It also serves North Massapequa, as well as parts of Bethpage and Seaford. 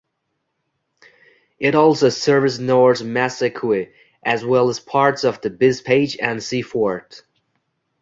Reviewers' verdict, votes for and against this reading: rejected, 1, 2